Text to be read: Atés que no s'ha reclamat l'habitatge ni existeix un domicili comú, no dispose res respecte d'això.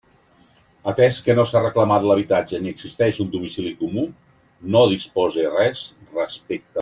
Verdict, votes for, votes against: rejected, 0, 2